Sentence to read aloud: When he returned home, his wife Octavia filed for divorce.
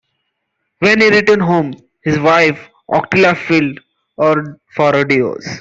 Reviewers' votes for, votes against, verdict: 0, 2, rejected